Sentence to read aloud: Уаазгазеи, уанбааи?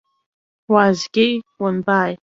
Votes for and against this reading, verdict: 1, 2, rejected